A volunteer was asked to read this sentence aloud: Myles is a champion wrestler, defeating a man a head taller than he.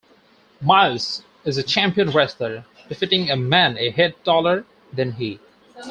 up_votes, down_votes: 4, 0